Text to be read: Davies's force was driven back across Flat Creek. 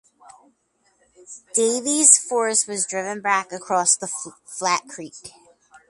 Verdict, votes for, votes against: rejected, 0, 4